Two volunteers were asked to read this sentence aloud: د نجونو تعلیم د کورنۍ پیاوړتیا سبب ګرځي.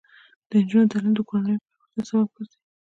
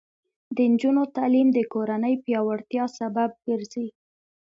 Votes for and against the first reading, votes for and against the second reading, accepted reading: 1, 2, 2, 0, second